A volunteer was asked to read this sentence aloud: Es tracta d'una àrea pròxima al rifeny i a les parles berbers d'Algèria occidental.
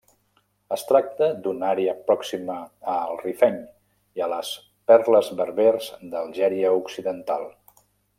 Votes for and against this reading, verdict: 0, 2, rejected